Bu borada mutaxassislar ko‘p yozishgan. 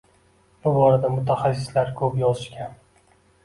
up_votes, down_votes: 2, 0